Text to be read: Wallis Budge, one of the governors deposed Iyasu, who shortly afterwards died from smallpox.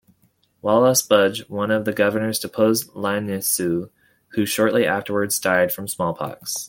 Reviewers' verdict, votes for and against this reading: rejected, 1, 2